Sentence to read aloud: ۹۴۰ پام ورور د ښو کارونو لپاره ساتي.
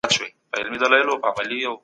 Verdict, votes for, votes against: rejected, 0, 2